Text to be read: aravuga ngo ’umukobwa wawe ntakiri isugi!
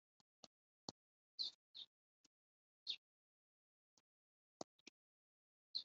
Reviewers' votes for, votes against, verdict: 1, 3, rejected